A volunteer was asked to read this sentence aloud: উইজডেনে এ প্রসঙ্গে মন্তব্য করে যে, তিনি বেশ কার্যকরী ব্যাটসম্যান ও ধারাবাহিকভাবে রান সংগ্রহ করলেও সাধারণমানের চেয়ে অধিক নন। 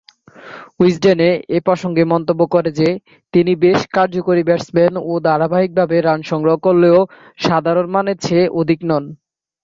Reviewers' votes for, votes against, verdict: 2, 0, accepted